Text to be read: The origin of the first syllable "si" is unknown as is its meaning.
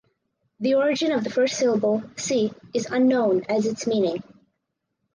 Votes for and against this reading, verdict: 4, 0, accepted